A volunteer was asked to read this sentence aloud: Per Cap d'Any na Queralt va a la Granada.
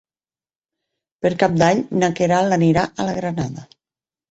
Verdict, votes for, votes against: rejected, 0, 4